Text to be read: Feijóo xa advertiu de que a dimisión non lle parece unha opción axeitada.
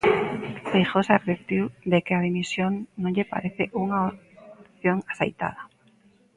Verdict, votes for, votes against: rejected, 0, 2